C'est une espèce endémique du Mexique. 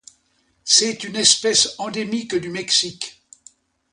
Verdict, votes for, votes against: accepted, 2, 0